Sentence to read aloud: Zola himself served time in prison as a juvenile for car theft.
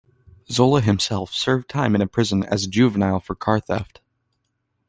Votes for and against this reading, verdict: 1, 2, rejected